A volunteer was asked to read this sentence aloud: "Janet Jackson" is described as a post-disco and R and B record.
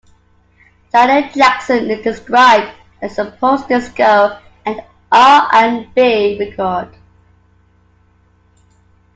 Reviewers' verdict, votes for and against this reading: accepted, 2, 0